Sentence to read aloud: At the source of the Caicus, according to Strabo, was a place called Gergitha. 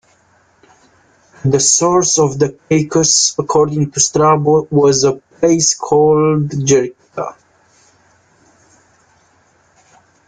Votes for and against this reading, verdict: 0, 2, rejected